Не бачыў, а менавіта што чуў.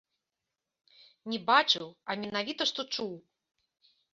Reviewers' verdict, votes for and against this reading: accepted, 2, 0